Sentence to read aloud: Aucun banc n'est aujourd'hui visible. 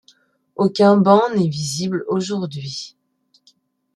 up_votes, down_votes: 0, 2